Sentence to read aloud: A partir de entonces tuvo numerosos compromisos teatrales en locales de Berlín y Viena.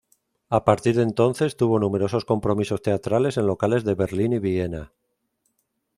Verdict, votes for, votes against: accepted, 2, 0